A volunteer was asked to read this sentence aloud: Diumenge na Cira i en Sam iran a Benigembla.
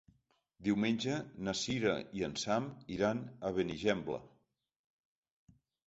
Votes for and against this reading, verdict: 4, 0, accepted